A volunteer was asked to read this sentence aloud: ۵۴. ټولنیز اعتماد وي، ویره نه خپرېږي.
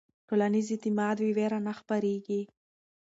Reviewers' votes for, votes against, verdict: 0, 2, rejected